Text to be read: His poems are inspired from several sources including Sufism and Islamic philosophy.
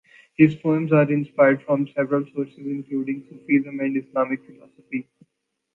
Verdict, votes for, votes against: rejected, 1, 2